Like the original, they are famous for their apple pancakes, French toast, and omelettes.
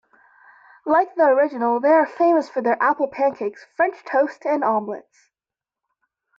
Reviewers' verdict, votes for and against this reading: accepted, 2, 0